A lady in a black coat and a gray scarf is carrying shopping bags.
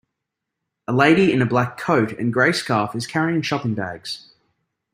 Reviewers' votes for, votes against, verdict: 2, 0, accepted